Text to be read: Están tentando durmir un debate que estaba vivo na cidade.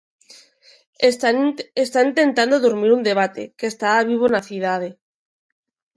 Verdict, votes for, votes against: rejected, 0, 2